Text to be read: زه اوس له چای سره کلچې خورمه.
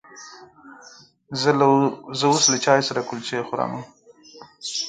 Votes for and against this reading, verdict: 4, 0, accepted